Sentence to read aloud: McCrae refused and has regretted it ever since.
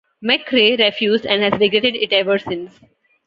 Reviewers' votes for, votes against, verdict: 1, 2, rejected